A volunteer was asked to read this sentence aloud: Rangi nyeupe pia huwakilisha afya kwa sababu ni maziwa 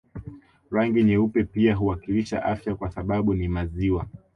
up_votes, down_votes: 2, 0